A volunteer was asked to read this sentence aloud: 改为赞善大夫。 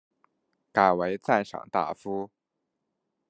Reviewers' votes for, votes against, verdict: 1, 2, rejected